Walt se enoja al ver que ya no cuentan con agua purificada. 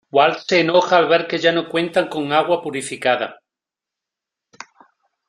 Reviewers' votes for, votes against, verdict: 1, 2, rejected